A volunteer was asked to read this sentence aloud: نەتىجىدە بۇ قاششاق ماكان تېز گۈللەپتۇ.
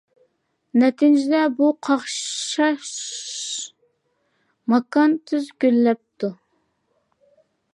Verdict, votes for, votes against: rejected, 0, 2